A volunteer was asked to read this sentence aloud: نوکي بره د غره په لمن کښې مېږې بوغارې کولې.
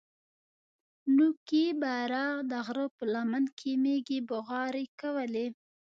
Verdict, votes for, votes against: rejected, 2, 3